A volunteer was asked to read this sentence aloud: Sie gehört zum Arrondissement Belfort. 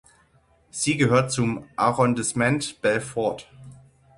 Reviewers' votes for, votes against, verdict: 0, 6, rejected